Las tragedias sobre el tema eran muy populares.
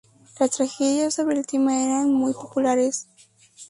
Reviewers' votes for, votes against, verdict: 2, 0, accepted